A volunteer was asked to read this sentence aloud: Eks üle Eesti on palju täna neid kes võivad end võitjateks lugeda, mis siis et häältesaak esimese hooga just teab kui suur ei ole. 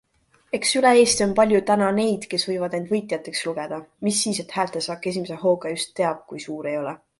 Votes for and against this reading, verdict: 2, 1, accepted